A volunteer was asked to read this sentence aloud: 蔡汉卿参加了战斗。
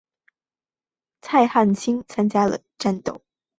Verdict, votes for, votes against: accepted, 2, 0